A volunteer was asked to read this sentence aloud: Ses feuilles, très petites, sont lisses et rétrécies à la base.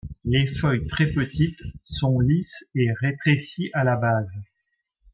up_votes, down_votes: 0, 3